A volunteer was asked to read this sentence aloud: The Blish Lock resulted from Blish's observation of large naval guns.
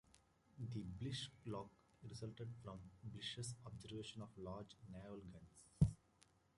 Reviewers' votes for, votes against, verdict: 0, 2, rejected